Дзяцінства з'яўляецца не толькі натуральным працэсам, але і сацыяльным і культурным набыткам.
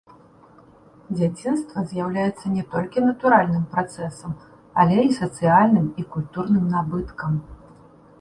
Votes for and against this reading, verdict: 2, 0, accepted